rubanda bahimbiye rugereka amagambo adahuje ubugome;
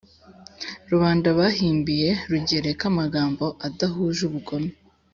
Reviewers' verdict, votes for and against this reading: accepted, 2, 0